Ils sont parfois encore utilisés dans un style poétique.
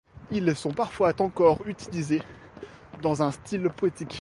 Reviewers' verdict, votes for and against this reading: rejected, 1, 2